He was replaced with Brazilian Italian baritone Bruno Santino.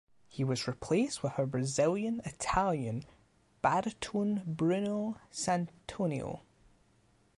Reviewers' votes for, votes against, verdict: 0, 2, rejected